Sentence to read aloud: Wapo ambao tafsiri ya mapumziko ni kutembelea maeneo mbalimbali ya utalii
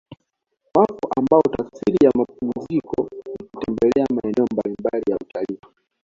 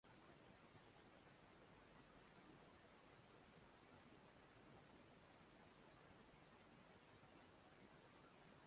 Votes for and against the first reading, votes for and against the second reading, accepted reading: 2, 1, 1, 2, first